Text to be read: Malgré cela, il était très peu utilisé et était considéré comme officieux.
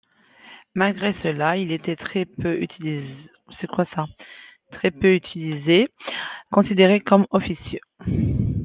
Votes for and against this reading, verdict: 0, 2, rejected